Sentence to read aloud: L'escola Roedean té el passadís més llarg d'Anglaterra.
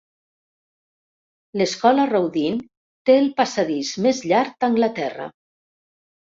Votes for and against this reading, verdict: 0, 2, rejected